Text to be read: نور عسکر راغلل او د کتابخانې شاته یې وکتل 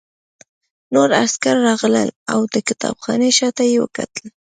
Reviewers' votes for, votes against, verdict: 2, 0, accepted